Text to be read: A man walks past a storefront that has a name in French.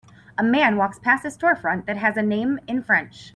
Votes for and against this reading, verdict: 3, 0, accepted